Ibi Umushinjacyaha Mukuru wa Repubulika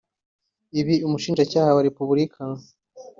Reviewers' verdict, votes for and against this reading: rejected, 0, 2